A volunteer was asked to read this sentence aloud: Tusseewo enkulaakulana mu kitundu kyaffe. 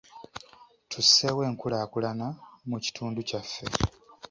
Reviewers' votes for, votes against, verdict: 3, 0, accepted